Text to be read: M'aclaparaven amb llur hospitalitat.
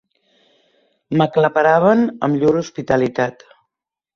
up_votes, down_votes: 2, 0